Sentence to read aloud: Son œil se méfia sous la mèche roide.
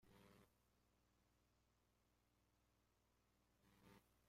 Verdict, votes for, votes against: rejected, 0, 2